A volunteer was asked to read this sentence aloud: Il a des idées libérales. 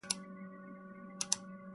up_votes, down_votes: 0, 2